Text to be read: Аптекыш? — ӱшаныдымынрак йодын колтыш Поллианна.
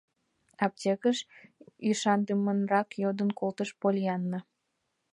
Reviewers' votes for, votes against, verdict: 1, 2, rejected